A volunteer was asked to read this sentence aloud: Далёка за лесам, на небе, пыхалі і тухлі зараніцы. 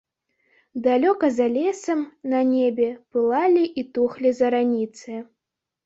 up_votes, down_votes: 0, 2